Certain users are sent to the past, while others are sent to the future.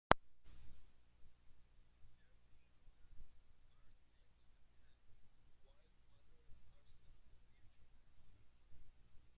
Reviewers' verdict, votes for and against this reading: rejected, 0, 2